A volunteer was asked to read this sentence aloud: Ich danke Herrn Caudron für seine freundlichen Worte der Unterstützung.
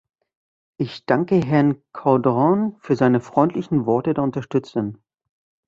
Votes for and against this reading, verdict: 1, 2, rejected